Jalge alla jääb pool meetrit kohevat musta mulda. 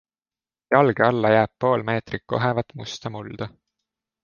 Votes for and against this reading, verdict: 2, 0, accepted